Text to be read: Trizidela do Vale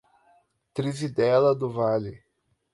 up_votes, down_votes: 4, 0